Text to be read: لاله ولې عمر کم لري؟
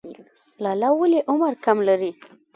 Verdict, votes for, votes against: rejected, 2, 3